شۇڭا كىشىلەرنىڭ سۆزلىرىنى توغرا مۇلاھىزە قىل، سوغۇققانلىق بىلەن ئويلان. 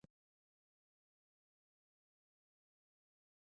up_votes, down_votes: 0, 2